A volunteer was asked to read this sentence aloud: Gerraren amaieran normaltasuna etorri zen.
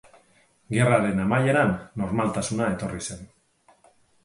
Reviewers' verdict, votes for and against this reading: rejected, 2, 2